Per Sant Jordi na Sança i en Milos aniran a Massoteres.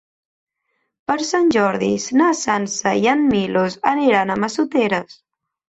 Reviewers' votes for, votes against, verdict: 1, 2, rejected